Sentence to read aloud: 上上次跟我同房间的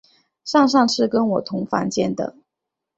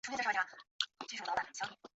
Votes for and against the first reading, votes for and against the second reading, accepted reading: 2, 0, 1, 2, first